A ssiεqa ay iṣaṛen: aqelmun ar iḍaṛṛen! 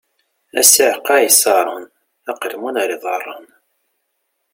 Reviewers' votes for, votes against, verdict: 2, 0, accepted